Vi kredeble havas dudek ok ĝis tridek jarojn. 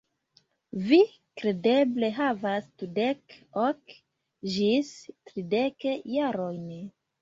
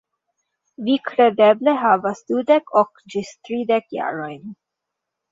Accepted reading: second